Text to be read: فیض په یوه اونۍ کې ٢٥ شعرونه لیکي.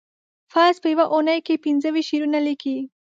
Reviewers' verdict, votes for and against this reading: rejected, 0, 2